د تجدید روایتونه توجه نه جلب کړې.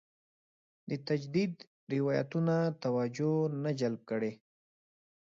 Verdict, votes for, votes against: accepted, 2, 0